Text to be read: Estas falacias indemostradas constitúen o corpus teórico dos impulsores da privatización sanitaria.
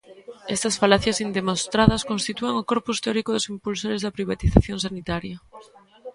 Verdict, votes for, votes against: rejected, 1, 2